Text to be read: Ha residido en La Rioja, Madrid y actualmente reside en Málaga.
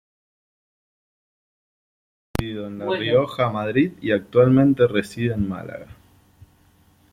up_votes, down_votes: 0, 2